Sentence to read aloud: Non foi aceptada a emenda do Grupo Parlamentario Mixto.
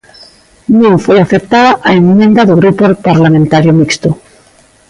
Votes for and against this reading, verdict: 1, 2, rejected